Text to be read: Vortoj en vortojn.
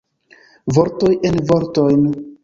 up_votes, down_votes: 0, 2